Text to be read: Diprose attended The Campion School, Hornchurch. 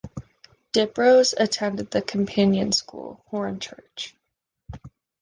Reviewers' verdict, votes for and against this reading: rejected, 0, 2